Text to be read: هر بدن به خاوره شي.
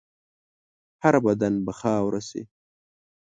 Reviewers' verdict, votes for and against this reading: accepted, 2, 0